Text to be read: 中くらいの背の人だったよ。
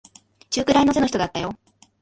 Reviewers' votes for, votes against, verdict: 2, 1, accepted